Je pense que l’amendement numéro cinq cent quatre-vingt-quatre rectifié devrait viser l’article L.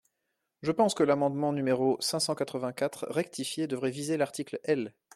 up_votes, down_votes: 2, 0